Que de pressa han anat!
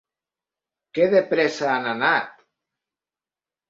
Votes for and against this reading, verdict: 1, 2, rejected